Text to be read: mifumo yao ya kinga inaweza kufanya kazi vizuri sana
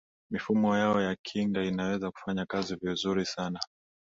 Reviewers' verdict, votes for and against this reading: accepted, 2, 0